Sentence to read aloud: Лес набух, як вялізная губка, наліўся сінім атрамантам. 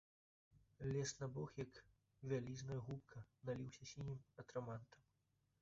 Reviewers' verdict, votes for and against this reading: rejected, 1, 2